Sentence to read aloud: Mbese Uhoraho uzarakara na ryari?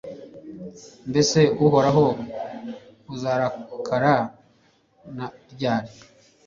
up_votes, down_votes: 0, 2